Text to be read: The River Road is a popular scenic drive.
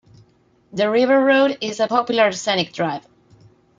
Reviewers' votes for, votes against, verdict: 2, 1, accepted